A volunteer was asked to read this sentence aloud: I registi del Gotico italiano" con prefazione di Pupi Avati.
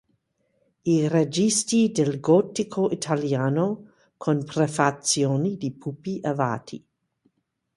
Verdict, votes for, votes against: accepted, 2, 0